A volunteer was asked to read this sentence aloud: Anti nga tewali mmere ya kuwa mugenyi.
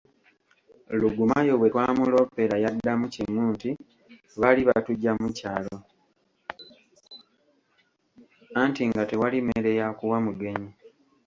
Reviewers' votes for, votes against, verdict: 0, 2, rejected